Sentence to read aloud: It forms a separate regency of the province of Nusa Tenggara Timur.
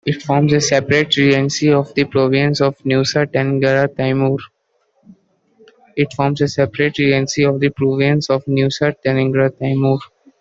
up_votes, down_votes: 0, 2